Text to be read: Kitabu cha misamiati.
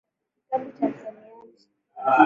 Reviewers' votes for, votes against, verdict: 2, 0, accepted